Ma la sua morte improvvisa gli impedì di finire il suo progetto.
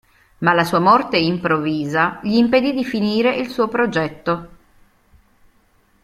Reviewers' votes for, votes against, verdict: 1, 2, rejected